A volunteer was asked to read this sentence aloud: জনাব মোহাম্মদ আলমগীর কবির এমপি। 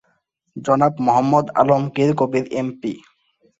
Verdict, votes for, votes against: accepted, 24, 1